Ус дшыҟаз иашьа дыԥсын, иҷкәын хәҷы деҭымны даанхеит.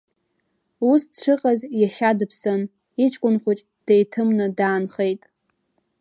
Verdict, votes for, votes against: rejected, 1, 2